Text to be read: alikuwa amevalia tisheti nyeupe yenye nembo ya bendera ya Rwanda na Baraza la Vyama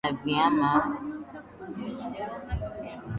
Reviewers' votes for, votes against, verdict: 0, 2, rejected